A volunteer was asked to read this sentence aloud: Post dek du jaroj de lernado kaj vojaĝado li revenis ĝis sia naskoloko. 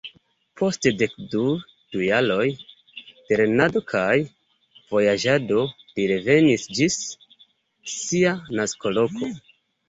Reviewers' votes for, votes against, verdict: 0, 2, rejected